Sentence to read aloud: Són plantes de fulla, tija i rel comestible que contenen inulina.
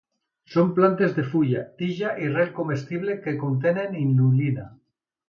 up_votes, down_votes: 2, 0